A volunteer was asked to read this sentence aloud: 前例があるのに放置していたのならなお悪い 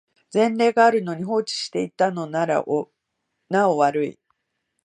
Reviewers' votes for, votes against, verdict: 2, 0, accepted